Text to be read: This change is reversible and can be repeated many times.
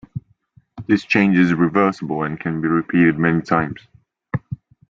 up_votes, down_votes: 2, 0